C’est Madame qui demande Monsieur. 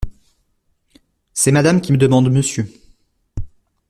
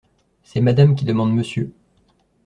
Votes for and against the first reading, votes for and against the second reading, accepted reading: 1, 2, 2, 0, second